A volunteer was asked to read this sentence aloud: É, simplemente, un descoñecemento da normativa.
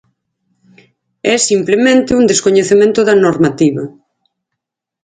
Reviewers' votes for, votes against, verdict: 4, 0, accepted